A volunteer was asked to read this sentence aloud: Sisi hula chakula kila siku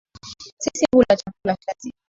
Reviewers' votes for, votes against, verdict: 2, 0, accepted